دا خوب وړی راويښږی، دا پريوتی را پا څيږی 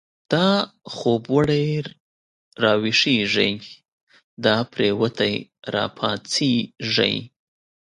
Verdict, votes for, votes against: accepted, 2, 0